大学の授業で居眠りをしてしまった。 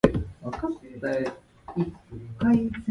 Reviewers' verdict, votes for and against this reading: rejected, 0, 2